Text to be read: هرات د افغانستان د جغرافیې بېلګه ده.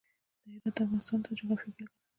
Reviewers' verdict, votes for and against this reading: rejected, 1, 2